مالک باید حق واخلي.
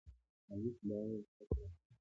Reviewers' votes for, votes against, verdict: 2, 1, accepted